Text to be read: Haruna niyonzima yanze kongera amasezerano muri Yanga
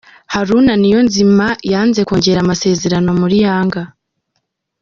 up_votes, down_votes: 2, 0